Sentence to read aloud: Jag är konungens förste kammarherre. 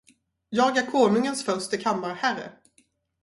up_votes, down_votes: 0, 2